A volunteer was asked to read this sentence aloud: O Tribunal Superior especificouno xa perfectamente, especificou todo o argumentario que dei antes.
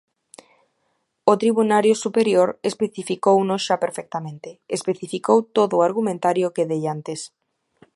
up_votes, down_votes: 0, 2